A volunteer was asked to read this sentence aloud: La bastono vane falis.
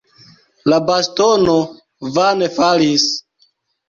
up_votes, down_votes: 2, 0